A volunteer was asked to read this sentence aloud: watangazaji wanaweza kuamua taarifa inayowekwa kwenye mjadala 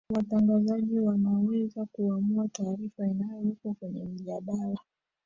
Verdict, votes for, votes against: rejected, 1, 3